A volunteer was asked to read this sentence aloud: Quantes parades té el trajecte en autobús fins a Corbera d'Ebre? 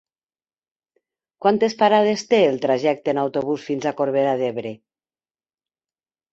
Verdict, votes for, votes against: accepted, 2, 0